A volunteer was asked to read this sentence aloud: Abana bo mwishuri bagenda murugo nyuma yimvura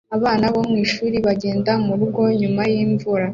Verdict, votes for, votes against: accepted, 2, 0